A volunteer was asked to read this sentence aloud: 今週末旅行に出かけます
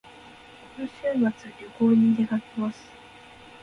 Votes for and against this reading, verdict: 1, 2, rejected